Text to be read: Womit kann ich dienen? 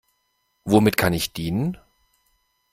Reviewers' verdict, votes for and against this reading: accepted, 2, 0